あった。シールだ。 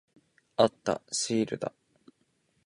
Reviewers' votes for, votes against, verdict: 20, 3, accepted